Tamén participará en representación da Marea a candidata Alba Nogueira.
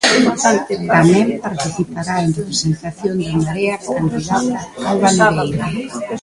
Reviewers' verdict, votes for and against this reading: rejected, 0, 2